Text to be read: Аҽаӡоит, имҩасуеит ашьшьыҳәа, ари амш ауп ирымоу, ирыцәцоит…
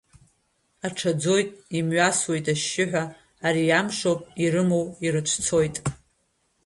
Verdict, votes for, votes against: rejected, 1, 2